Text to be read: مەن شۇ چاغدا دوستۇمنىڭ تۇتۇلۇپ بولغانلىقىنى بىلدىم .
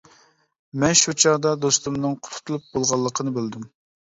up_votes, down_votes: 1, 2